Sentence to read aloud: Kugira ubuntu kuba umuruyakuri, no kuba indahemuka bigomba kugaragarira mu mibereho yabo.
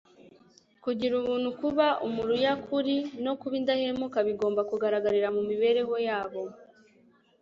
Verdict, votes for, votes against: accepted, 2, 0